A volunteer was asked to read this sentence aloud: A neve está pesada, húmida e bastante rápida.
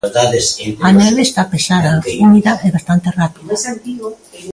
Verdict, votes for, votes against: rejected, 1, 2